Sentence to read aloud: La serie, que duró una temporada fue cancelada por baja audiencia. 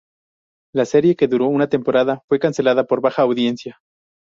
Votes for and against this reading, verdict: 0, 2, rejected